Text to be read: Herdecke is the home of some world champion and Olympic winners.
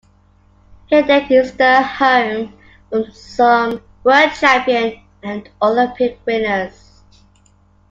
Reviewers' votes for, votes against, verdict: 2, 0, accepted